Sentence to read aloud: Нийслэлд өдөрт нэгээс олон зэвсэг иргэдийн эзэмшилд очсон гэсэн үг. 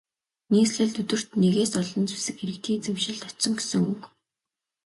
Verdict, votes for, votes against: accepted, 2, 0